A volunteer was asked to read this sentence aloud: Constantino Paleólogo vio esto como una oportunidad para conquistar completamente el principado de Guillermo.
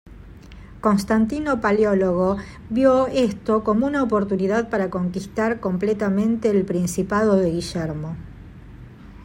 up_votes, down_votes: 0, 2